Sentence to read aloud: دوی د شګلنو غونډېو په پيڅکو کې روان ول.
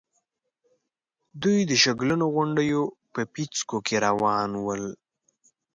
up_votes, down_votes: 2, 0